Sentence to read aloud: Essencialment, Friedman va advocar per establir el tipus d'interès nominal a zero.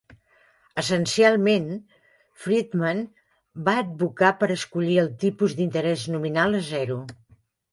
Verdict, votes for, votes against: rejected, 0, 2